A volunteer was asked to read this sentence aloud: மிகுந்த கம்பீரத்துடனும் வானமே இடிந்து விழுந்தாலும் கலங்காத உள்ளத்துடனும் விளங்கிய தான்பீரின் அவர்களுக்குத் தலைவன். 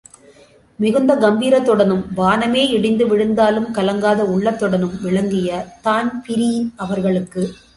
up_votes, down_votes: 0, 2